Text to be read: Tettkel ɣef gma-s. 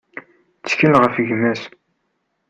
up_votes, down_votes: 2, 0